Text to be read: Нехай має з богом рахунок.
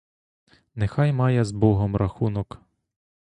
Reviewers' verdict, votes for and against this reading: accepted, 2, 1